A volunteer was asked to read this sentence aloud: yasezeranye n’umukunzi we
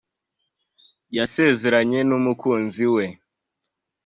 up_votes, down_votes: 2, 0